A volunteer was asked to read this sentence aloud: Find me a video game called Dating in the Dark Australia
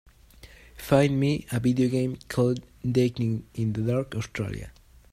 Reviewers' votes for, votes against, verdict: 4, 1, accepted